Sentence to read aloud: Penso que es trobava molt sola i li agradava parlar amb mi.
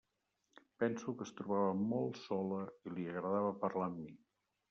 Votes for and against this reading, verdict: 1, 2, rejected